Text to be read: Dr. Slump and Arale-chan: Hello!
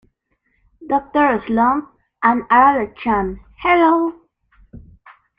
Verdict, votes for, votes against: rejected, 0, 2